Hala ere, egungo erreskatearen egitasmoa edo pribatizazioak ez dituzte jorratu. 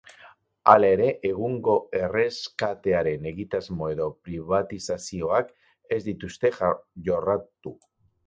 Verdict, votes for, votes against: rejected, 2, 4